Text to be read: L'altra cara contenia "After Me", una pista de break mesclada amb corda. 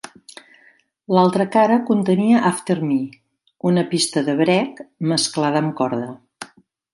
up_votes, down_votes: 2, 1